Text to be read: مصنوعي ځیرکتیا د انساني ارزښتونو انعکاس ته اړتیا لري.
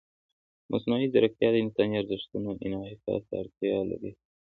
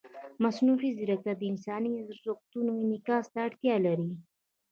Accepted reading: first